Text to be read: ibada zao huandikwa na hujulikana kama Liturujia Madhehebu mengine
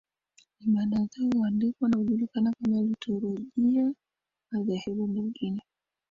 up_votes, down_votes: 2, 1